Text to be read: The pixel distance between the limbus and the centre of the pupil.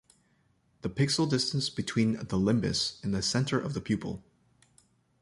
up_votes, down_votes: 1, 2